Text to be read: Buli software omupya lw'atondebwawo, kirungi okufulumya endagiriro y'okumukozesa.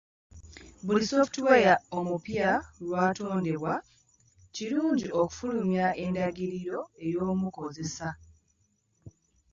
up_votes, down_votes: 1, 2